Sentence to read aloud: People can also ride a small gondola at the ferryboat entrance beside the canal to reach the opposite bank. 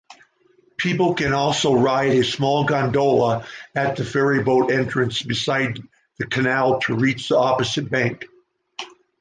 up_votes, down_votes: 2, 0